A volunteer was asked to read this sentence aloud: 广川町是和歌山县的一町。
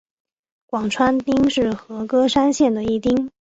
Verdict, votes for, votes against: accepted, 2, 0